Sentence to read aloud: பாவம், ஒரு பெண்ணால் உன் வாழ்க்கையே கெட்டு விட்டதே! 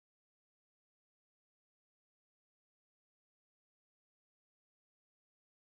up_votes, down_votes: 0, 2